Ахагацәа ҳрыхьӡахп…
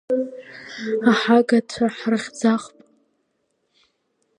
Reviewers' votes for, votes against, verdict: 2, 1, accepted